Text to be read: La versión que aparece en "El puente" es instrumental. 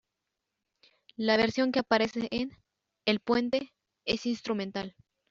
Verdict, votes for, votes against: rejected, 1, 2